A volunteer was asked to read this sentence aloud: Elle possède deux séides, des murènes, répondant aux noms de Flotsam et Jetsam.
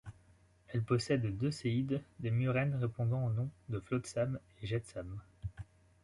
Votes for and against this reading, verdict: 2, 0, accepted